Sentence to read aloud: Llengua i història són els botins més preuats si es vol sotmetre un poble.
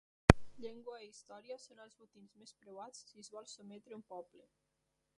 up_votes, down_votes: 0, 2